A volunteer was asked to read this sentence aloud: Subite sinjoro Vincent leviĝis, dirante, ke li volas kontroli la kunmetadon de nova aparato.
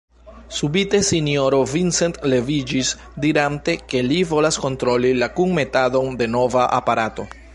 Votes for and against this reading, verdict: 1, 2, rejected